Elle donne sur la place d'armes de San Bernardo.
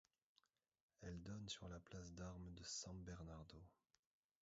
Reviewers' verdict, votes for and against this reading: rejected, 1, 2